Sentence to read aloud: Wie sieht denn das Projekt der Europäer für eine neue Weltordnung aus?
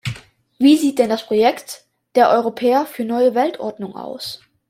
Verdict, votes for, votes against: rejected, 0, 2